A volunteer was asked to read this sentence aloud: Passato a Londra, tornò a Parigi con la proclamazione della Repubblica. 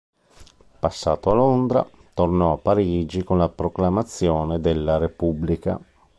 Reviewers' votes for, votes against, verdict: 3, 0, accepted